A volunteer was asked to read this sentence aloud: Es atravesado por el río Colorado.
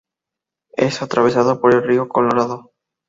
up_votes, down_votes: 2, 0